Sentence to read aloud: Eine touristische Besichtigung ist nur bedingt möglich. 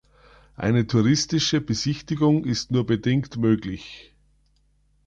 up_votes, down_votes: 2, 0